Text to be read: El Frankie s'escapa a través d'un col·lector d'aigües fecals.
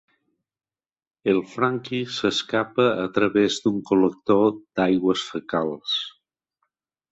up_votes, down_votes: 4, 0